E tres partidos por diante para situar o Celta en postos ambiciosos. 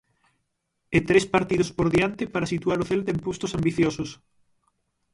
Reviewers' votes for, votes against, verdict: 3, 3, rejected